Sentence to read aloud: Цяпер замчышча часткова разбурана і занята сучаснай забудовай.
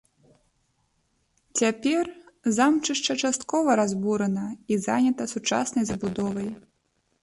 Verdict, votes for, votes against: rejected, 1, 2